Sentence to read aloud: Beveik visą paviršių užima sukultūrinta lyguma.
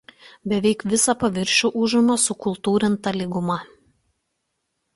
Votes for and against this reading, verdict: 2, 0, accepted